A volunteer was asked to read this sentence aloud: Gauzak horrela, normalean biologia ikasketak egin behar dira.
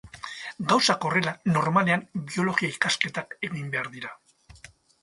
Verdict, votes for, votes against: accepted, 4, 0